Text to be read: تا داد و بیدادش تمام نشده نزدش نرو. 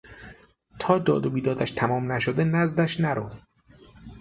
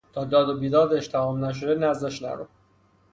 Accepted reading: first